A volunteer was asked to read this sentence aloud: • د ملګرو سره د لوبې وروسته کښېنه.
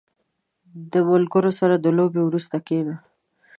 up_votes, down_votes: 1, 2